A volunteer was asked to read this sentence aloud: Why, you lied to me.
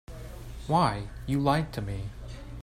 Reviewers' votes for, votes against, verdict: 3, 0, accepted